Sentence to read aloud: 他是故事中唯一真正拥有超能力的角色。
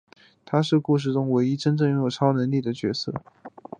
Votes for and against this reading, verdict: 2, 0, accepted